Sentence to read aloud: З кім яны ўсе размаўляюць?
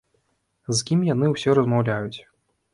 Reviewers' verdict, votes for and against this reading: rejected, 1, 2